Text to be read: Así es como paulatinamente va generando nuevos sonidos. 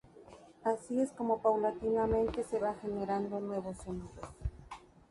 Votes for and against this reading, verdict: 0, 2, rejected